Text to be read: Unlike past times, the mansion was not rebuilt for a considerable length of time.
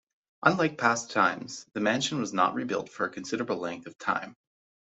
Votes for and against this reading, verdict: 1, 2, rejected